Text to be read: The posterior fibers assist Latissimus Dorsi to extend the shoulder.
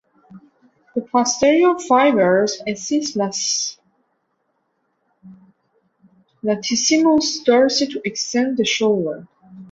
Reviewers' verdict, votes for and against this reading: rejected, 0, 3